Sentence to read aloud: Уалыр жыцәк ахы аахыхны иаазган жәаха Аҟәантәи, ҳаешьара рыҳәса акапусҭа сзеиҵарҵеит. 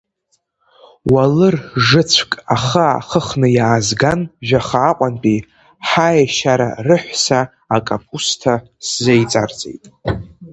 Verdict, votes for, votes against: accepted, 2, 0